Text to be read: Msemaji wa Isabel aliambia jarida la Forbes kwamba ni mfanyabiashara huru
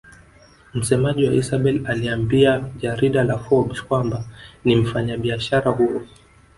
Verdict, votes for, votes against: rejected, 0, 2